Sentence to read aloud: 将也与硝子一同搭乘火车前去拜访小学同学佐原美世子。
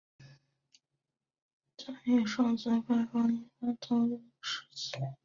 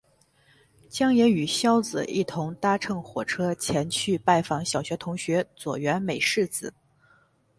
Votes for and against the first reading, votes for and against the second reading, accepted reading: 1, 2, 6, 0, second